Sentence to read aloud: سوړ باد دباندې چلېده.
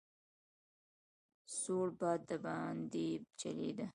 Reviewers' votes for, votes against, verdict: 2, 0, accepted